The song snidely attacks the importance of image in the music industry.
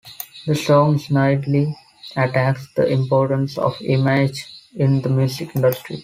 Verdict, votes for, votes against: accepted, 2, 0